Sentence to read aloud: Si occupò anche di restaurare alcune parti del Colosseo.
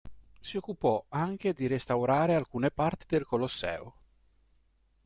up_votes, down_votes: 2, 0